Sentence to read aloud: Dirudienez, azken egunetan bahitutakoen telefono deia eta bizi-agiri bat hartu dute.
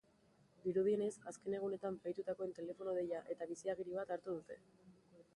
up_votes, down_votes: 2, 3